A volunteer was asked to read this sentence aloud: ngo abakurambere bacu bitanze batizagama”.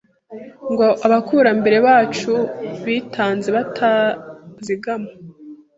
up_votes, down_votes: 0, 2